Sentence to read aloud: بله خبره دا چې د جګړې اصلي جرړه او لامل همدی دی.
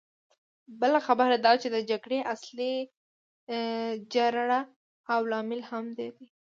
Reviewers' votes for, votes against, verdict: 2, 0, accepted